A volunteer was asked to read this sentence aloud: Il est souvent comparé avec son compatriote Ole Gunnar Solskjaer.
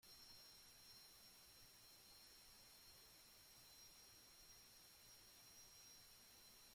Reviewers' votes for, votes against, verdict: 0, 2, rejected